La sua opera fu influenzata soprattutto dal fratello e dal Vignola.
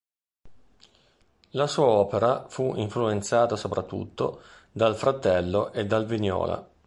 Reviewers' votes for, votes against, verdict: 2, 0, accepted